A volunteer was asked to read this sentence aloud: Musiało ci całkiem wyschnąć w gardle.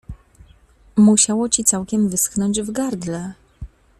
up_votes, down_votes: 2, 0